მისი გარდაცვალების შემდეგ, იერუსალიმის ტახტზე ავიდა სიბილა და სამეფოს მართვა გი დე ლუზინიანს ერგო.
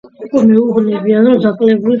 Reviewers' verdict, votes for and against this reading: rejected, 0, 2